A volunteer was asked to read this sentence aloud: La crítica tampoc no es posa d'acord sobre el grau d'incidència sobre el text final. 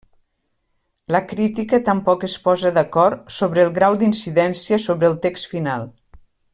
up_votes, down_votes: 1, 2